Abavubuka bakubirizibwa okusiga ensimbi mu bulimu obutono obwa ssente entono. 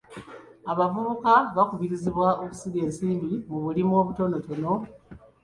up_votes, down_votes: 0, 2